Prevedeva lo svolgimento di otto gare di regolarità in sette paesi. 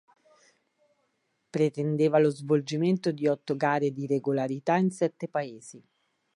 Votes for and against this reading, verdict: 1, 2, rejected